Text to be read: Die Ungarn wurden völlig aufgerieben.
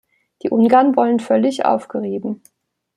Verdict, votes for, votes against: rejected, 1, 2